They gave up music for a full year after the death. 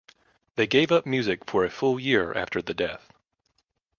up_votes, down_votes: 4, 0